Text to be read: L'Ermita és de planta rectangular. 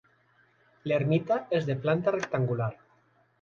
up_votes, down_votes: 3, 0